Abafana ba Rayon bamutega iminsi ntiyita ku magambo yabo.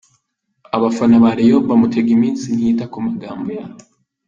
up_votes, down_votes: 2, 0